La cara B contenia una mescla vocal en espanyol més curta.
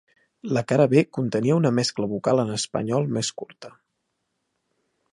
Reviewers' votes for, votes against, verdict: 2, 0, accepted